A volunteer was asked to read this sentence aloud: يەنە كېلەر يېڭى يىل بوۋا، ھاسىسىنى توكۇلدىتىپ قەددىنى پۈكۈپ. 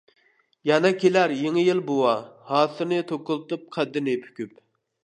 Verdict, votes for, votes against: rejected, 1, 2